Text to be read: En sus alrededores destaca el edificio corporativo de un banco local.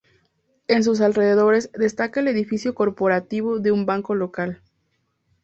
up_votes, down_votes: 2, 0